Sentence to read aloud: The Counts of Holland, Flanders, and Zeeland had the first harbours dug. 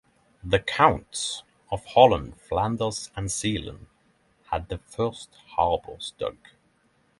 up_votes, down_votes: 3, 0